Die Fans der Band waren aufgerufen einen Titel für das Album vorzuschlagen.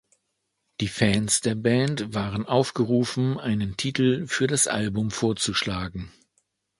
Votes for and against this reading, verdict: 2, 0, accepted